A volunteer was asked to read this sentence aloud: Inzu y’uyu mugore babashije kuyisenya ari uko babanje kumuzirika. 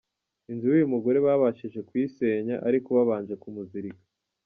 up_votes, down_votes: 2, 0